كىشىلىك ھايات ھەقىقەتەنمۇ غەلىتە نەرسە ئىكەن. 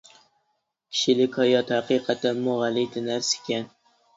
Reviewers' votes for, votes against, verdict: 2, 0, accepted